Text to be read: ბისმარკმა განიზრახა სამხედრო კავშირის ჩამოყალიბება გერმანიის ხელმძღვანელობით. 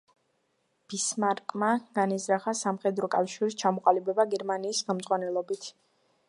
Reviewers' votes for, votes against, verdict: 2, 1, accepted